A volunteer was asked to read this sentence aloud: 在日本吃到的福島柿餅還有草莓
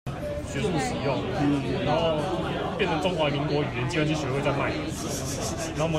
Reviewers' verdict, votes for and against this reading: rejected, 0, 2